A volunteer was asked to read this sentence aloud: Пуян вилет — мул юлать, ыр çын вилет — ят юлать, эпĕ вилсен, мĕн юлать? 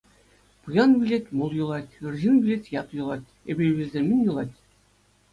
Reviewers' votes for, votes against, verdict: 2, 0, accepted